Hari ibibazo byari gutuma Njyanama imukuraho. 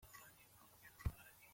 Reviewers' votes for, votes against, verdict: 0, 2, rejected